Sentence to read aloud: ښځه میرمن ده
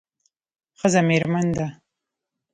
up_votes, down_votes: 0, 2